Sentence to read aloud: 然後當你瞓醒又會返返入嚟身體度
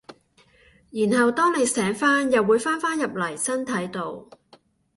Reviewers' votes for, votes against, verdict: 1, 2, rejected